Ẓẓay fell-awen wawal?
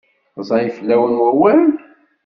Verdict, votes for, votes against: accepted, 2, 0